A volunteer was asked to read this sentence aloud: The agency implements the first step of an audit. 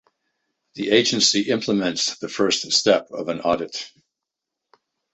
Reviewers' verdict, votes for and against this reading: accepted, 2, 0